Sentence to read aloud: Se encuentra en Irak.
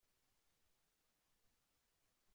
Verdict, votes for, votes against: rejected, 0, 2